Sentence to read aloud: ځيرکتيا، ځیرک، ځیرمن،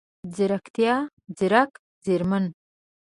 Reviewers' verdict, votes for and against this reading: accepted, 2, 0